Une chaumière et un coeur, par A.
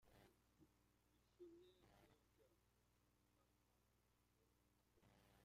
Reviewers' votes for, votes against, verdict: 0, 2, rejected